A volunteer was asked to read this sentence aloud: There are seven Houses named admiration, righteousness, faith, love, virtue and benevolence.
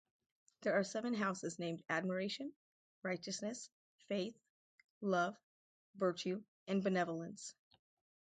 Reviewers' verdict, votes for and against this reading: rejected, 2, 2